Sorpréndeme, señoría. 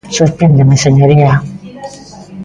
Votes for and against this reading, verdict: 1, 2, rejected